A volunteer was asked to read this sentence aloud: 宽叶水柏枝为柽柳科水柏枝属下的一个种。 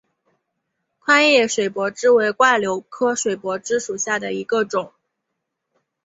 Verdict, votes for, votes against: accepted, 9, 0